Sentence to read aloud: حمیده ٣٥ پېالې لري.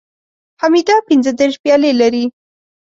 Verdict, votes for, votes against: rejected, 0, 2